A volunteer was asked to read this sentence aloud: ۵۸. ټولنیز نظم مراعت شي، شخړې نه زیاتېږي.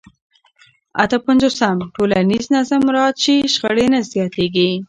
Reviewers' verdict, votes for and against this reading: rejected, 0, 2